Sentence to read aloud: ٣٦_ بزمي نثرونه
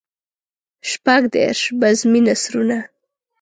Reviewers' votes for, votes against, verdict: 0, 2, rejected